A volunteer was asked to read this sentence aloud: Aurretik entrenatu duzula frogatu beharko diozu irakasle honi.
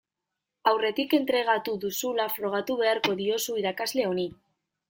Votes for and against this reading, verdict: 0, 2, rejected